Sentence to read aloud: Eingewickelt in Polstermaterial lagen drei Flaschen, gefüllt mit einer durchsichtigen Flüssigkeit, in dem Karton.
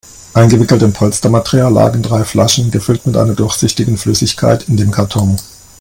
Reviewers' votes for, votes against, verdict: 2, 0, accepted